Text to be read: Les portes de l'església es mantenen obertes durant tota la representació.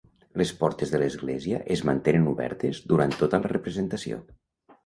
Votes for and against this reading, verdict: 2, 0, accepted